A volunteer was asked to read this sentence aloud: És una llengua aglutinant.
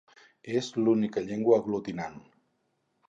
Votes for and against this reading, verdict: 0, 4, rejected